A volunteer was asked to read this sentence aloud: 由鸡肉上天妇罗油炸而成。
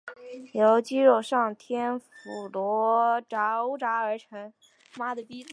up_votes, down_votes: 1, 3